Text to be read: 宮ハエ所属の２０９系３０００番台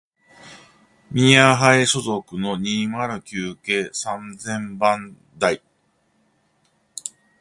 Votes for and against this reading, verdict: 0, 2, rejected